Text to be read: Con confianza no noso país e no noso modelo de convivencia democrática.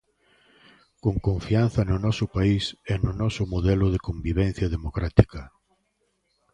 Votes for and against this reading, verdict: 1, 2, rejected